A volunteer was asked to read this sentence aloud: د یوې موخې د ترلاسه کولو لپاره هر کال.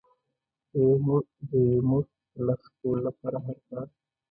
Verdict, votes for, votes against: rejected, 0, 2